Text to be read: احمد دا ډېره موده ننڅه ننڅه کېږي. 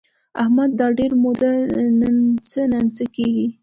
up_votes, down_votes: 2, 0